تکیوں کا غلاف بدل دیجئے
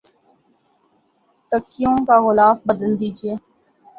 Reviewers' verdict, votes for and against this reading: accepted, 13, 0